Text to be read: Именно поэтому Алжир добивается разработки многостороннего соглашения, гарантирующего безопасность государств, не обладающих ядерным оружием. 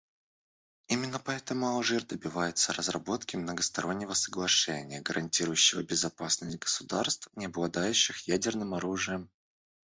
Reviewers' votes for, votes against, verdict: 1, 2, rejected